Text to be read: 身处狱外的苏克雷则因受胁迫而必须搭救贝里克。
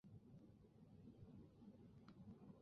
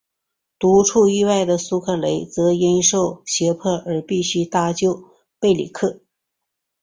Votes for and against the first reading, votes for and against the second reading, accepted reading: 2, 0, 0, 3, first